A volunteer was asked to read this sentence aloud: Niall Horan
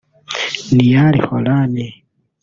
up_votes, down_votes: 1, 2